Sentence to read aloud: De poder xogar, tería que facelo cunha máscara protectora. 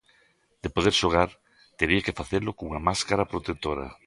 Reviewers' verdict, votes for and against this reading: accepted, 2, 0